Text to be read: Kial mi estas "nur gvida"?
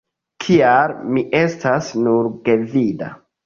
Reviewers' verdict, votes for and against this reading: accepted, 2, 0